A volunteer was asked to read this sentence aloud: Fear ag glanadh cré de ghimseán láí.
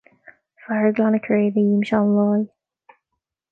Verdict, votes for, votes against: accepted, 2, 0